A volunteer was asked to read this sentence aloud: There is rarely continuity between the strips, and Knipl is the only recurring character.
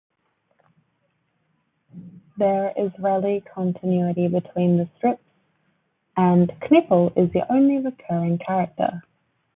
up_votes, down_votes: 0, 2